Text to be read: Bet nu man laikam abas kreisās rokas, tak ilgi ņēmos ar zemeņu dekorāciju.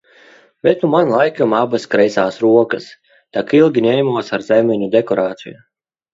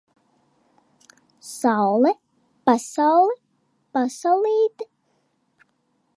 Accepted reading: first